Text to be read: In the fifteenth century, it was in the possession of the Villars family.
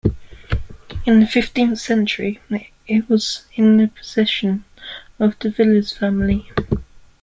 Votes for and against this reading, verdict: 2, 0, accepted